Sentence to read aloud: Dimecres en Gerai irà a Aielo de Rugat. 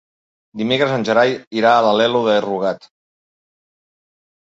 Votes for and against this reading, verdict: 2, 3, rejected